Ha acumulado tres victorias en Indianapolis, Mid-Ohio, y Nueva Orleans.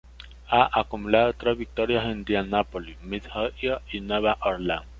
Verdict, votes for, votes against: rejected, 1, 2